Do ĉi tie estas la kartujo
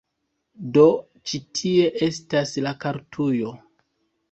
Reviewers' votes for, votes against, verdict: 2, 1, accepted